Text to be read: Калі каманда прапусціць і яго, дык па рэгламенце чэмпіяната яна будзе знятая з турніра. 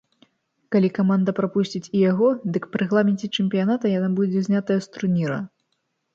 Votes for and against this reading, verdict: 2, 0, accepted